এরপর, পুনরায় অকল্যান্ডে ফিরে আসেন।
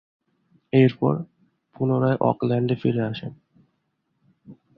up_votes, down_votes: 2, 0